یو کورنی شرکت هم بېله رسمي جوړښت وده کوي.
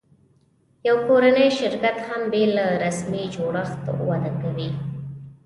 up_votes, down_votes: 2, 1